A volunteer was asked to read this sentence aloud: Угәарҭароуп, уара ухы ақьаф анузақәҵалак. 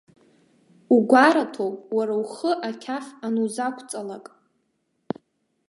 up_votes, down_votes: 0, 2